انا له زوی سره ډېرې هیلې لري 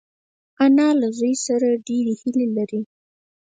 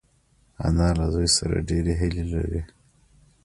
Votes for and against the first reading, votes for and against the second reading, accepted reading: 0, 4, 2, 0, second